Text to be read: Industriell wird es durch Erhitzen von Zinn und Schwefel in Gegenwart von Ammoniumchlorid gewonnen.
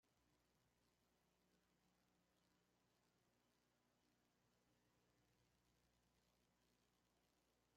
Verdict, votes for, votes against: rejected, 0, 2